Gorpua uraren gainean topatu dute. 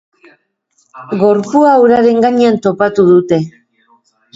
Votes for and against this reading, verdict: 2, 0, accepted